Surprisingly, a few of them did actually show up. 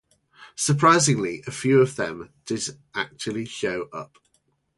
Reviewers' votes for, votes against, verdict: 2, 0, accepted